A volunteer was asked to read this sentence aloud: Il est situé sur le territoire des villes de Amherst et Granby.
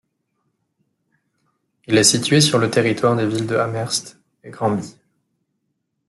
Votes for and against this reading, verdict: 2, 0, accepted